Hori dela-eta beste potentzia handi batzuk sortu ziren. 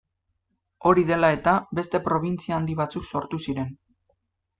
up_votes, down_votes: 0, 2